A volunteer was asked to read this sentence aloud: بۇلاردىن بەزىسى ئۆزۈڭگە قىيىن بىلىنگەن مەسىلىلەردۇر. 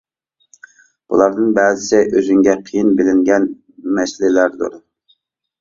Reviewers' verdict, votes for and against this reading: accepted, 2, 0